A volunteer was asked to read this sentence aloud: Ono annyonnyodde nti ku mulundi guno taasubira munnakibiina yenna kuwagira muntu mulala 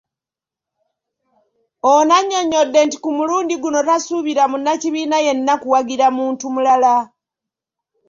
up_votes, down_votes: 1, 2